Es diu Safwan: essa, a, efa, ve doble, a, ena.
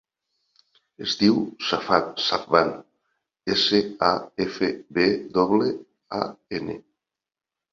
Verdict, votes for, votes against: rejected, 0, 2